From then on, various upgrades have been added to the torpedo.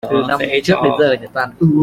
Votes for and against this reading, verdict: 0, 2, rejected